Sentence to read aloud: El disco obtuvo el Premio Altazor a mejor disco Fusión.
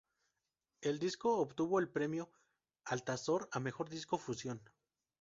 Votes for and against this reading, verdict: 2, 2, rejected